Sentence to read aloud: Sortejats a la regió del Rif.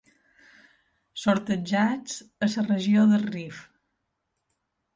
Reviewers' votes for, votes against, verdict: 1, 2, rejected